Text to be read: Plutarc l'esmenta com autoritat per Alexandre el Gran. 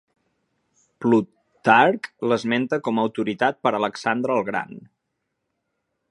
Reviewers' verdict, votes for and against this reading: accepted, 3, 0